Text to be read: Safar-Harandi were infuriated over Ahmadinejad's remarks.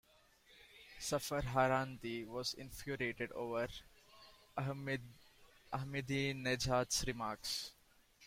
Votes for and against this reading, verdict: 0, 2, rejected